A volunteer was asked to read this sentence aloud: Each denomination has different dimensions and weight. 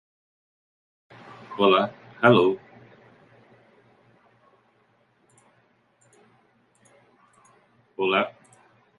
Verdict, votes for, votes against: rejected, 0, 2